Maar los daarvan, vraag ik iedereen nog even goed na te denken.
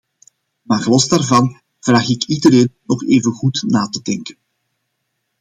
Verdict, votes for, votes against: accepted, 2, 0